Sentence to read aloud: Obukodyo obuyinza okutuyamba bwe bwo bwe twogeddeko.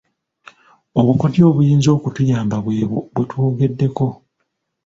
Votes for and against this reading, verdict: 2, 1, accepted